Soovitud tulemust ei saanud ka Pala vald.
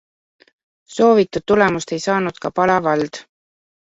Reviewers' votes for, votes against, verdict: 2, 1, accepted